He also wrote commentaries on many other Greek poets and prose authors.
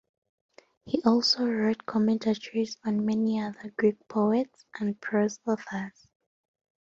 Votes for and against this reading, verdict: 2, 0, accepted